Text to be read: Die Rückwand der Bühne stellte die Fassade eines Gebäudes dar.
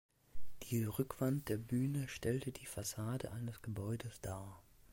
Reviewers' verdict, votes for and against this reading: accepted, 2, 0